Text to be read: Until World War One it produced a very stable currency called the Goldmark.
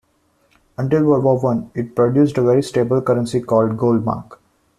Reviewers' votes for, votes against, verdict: 2, 1, accepted